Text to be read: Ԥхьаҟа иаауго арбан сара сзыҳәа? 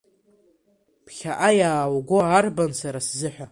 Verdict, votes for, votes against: accepted, 2, 1